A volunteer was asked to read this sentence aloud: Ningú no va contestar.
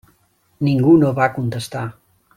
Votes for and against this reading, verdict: 3, 0, accepted